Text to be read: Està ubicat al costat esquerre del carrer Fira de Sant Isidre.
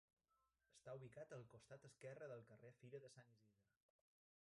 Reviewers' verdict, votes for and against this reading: rejected, 0, 2